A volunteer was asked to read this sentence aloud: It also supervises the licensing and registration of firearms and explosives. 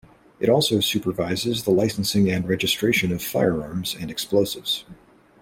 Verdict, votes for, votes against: accepted, 2, 0